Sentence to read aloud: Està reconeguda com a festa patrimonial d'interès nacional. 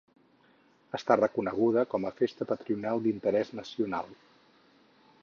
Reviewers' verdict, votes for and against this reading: rejected, 2, 4